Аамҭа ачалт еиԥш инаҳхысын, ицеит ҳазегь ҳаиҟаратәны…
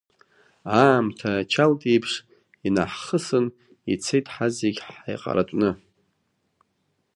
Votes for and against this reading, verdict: 0, 2, rejected